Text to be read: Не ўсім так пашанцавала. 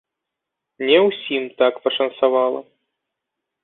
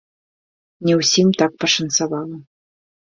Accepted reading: first